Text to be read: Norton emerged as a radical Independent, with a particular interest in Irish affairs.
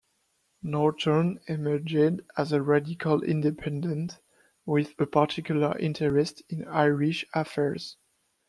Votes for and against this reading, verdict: 0, 2, rejected